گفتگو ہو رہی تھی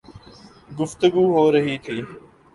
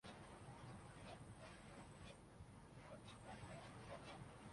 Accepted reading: first